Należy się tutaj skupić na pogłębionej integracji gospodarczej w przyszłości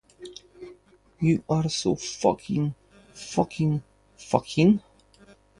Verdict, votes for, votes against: rejected, 0, 2